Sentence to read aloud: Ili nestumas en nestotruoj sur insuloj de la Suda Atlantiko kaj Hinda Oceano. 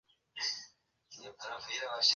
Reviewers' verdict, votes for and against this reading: accepted, 2, 1